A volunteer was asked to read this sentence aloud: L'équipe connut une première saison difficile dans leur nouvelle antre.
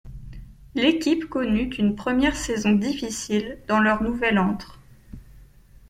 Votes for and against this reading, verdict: 2, 0, accepted